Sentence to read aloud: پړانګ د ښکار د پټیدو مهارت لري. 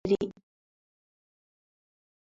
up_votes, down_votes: 1, 2